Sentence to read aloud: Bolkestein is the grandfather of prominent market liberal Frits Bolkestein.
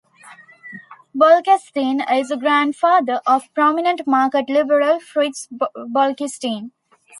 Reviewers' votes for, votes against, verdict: 2, 1, accepted